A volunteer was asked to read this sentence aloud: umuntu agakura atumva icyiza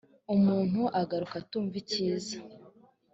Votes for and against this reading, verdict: 3, 0, accepted